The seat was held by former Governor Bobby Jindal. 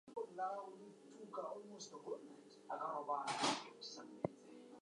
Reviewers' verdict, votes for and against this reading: rejected, 0, 4